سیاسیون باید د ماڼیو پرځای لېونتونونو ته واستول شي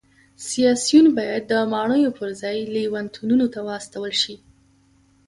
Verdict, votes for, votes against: accepted, 2, 0